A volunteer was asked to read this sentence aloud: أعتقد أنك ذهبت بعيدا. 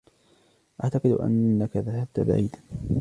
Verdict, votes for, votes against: accepted, 2, 0